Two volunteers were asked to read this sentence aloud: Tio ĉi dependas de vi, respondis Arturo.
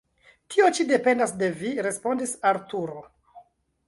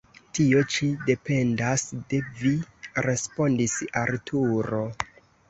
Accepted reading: second